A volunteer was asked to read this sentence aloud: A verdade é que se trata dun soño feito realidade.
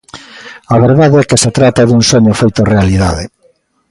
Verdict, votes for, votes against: accepted, 2, 0